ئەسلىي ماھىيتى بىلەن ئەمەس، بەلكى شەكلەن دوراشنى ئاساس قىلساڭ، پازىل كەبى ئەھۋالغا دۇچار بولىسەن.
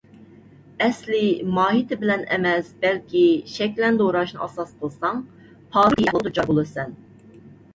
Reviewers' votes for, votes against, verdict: 0, 2, rejected